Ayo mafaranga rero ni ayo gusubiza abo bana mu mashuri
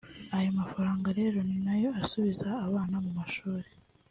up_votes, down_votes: 2, 0